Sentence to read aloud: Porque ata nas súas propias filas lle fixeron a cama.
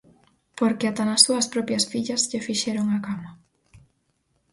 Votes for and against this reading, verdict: 0, 4, rejected